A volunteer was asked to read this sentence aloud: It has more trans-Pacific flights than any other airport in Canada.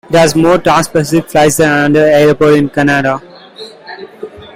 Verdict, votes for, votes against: rejected, 0, 2